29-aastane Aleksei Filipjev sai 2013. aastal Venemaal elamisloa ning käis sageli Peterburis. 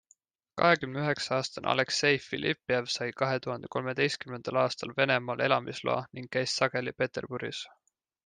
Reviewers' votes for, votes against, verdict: 0, 2, rejected